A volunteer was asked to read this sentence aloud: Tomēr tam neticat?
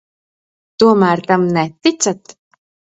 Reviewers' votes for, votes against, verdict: 3, 0, accepted